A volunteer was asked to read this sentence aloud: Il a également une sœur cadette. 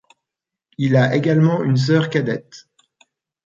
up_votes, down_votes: 2, 0